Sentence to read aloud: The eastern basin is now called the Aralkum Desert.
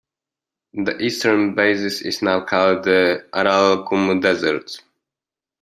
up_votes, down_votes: 0, 2